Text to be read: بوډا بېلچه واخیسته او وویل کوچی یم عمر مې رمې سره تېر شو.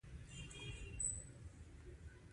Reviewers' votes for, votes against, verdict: 1, 2, rejected